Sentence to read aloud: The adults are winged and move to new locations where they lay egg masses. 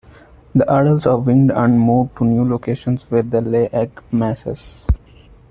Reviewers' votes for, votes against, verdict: 2, 0, accepted